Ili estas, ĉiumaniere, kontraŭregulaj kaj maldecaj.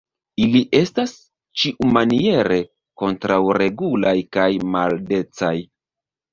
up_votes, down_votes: 1, 2